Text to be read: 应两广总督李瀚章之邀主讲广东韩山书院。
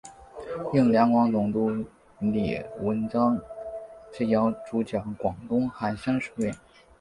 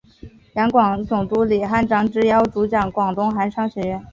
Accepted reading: first